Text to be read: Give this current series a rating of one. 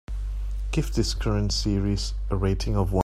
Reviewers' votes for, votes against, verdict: 0, 2, rejected